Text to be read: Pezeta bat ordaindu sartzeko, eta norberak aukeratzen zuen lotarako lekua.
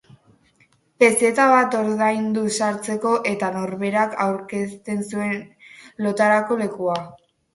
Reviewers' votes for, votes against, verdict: 2, 0, accepted